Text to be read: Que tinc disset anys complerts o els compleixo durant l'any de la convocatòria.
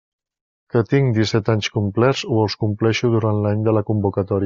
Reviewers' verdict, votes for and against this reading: rejected, 0, 2